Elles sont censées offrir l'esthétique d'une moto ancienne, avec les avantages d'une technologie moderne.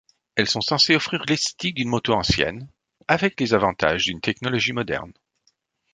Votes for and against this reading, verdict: 1, 3, rejected